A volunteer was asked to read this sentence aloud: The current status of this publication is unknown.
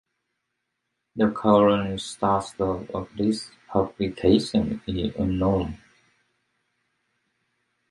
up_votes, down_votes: 1, 2